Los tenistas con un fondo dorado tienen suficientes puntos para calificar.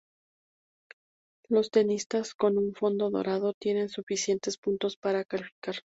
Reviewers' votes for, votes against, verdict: 0, 2, rejected